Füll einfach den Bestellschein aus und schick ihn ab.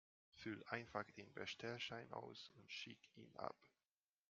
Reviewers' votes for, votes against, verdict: 2, 1, accepted